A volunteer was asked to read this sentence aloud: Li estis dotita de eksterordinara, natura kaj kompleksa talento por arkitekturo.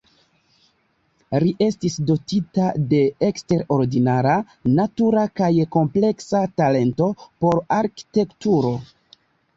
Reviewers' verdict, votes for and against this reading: rejected, 1, 2